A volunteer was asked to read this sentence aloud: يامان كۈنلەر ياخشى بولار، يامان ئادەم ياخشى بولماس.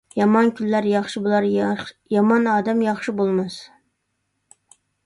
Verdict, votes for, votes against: rejected, 0, 2